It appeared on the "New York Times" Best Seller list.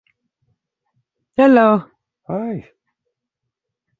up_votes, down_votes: 0, 2